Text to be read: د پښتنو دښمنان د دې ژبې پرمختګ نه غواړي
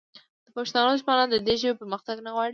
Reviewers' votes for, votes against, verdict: 2, 1, accepted